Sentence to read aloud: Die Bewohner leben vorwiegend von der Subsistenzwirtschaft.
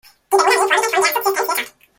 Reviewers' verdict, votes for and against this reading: rejected, 0, 2